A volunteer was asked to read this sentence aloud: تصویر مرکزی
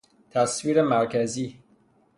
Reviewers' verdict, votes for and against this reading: rejected, 0, 3